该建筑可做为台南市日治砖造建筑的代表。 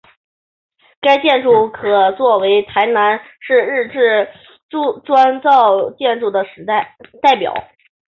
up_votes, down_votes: 2, 4